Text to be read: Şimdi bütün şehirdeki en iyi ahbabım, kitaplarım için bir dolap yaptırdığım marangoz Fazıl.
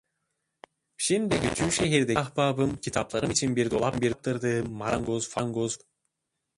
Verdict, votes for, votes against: rejected, 0, 2